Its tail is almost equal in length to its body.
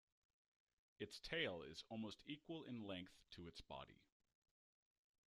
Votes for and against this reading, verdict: 0, 2, rejected